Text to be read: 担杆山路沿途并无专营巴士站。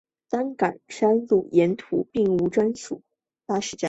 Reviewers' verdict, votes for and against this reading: accepted, 2, 1